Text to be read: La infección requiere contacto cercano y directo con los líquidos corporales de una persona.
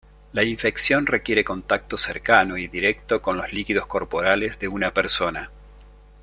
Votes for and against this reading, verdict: 2, 0, accepted